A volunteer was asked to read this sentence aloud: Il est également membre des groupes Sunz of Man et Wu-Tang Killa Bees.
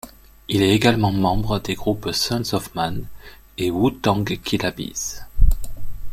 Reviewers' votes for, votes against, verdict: 2, 0, accepted